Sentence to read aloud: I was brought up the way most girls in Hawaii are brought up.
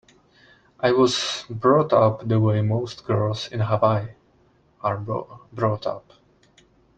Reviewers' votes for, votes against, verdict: 0, 2, rejected